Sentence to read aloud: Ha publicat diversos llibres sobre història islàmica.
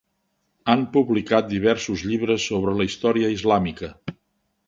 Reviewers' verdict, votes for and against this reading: rejected, 0, 2